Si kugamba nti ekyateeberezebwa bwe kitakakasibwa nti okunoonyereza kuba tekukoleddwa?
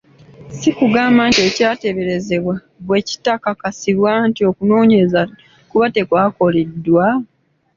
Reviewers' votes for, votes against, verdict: 2, 0, accepted